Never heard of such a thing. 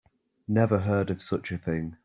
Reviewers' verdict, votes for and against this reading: accepted, 3, 0